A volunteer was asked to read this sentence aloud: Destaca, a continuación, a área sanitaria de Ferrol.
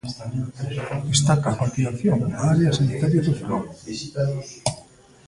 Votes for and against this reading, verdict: 1, 2, rejected